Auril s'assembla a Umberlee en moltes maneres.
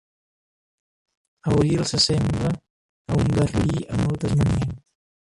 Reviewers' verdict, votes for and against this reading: rejected, 1, 2